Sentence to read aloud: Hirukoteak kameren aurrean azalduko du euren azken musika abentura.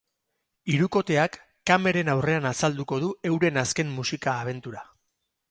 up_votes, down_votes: 4, 0